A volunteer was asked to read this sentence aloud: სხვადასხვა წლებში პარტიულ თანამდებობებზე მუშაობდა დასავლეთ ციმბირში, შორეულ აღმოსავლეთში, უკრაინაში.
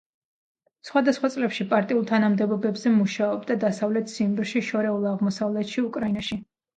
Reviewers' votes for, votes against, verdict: 0, 2, rejected